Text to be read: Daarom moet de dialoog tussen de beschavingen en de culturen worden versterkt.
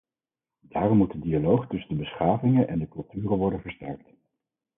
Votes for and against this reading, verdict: 4, 0, accepted